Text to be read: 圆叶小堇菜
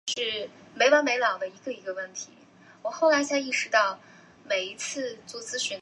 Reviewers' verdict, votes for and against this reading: rejected, 0, 2